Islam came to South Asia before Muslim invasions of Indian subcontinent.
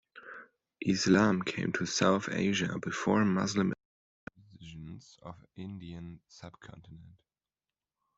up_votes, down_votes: 1, 2